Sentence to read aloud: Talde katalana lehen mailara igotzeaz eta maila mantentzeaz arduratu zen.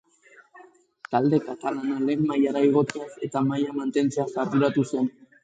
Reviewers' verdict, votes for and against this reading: accepted, 4, 0